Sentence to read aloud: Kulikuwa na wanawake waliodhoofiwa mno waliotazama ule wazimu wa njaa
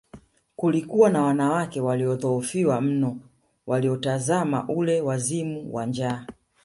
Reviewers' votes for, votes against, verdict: 2, 1, accepted